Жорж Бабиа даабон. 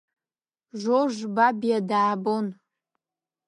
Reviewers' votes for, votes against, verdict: 2, 0, accepted